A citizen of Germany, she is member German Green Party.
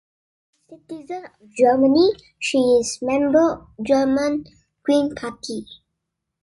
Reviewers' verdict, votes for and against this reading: rejected, 0, 2